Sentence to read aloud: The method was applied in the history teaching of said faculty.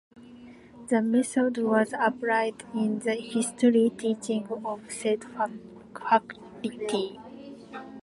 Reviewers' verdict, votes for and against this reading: rejected, 0, 2